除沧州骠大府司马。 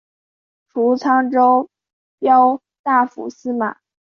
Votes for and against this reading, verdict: 2, 0, accepted